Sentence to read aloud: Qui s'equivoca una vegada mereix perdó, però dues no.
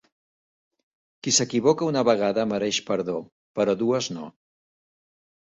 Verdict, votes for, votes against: accepted, 2, 0